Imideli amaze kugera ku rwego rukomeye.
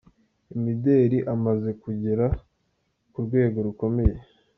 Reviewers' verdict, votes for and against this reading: accepted, 2, 0